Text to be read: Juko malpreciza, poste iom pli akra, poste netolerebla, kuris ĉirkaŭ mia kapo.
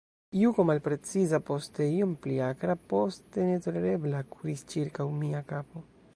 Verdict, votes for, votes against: accepted, 2, 1